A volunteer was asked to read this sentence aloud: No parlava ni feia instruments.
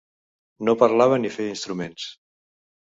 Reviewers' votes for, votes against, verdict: 2, 0, accepted